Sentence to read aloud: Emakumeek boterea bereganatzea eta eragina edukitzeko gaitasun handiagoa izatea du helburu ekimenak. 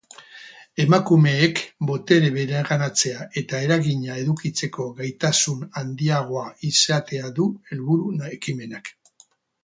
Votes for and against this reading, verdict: 2, 2, rejected